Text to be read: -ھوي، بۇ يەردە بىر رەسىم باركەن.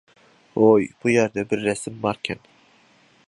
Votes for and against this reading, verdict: 3, 0, accepted